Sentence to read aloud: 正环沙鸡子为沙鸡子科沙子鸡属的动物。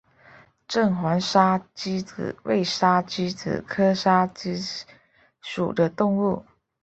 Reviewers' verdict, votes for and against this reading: accepted, 3, 0